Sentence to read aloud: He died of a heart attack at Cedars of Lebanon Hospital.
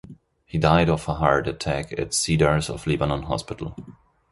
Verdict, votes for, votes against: accepted, 2, 0